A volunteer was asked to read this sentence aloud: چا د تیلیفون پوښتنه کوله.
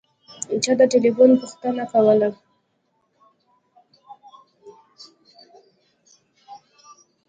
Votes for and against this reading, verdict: 2, 0, accepted